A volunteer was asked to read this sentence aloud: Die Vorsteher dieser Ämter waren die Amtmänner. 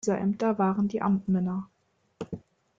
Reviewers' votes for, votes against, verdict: 0, 2, rejected